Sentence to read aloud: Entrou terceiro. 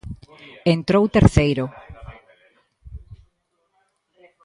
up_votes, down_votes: 2, 0